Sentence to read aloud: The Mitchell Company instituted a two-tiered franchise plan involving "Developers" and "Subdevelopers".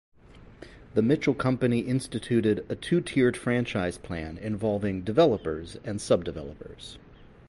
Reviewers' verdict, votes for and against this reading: accepted, 2, 0